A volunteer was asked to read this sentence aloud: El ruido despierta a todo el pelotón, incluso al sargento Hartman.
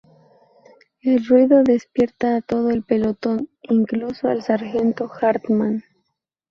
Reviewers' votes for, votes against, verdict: 0, 2, rejected